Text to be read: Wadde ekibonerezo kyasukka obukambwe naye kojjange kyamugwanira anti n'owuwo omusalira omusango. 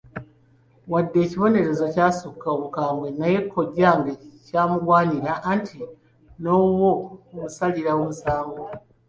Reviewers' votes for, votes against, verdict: 2, 1, accepted